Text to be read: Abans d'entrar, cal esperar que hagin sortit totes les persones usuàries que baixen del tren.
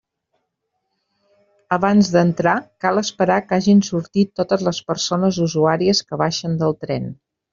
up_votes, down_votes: 3, 0